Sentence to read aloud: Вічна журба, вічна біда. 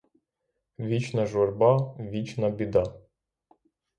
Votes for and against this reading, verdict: 3, 0, accepted